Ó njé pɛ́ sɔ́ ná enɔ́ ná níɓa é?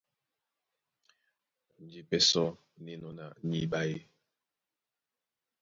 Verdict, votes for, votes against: accepted, 2, 0